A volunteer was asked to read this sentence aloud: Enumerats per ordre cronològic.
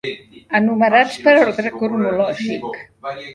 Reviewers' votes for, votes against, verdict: 0, 2, rejected